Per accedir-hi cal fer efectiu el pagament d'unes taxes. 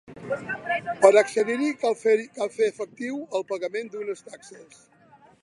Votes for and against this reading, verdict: 0, 2, rejected